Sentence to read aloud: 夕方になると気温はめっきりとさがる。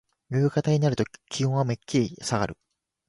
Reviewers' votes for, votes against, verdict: 2, 1, accepted